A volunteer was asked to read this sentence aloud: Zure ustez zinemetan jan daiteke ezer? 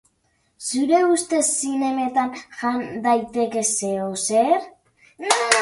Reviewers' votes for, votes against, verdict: 0, 2, rejected